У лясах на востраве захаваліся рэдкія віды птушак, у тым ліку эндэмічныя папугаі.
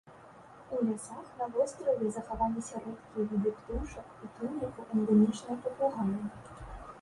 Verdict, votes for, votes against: rejected, 0, 2